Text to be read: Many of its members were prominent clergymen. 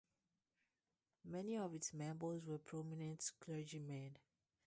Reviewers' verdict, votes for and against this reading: rejected, 0, 2